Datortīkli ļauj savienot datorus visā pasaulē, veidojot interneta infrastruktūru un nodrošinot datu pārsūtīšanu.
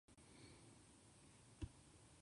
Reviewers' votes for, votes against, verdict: 0, 2, rejected